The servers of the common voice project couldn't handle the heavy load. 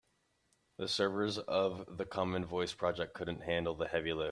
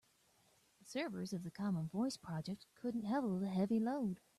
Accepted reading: second